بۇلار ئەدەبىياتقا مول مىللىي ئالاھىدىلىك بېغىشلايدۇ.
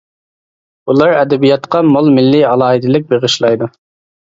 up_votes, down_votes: 2, 0